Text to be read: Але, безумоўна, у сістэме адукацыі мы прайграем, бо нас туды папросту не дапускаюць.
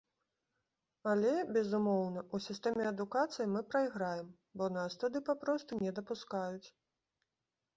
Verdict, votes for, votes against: accepted, 2, 0